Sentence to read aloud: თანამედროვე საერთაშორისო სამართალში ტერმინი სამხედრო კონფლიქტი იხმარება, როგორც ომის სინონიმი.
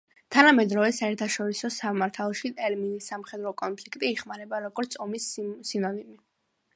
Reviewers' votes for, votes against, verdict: 2, 0, accepted